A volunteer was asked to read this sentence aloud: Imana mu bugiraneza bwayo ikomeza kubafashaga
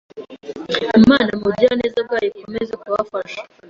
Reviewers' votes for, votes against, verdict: 0, 2, rejected